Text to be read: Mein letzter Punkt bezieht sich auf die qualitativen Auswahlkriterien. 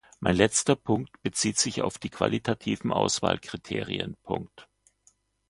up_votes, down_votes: 1, 2